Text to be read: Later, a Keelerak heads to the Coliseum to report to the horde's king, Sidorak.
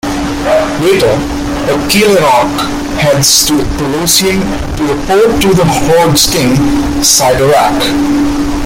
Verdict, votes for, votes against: rejected, 0, 2